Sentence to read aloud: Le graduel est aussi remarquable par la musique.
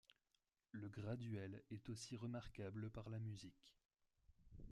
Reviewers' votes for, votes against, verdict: 1, 2, rejected